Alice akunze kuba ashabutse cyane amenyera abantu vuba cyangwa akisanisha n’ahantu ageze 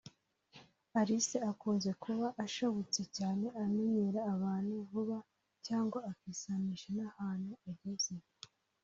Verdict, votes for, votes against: rejected, 1, 2